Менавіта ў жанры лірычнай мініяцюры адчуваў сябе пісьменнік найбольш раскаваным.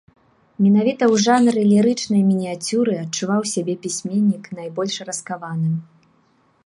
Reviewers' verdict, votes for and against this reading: accepted, 2, 0